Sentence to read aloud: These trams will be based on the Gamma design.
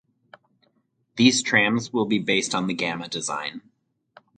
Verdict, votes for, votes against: accepted, 4, 0